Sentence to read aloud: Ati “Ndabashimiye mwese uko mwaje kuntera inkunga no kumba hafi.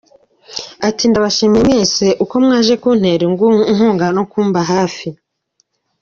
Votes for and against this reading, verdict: 2, 0, accepted